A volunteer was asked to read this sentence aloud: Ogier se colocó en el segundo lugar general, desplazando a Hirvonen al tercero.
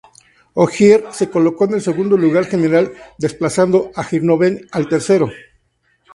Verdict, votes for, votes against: rejected, 0, 2